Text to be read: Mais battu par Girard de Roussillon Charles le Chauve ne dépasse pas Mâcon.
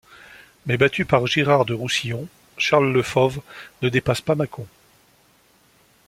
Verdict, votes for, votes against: rejected, 0, 2